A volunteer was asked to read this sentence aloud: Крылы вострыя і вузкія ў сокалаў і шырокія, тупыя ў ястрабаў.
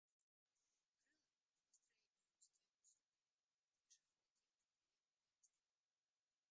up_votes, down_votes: 0, 2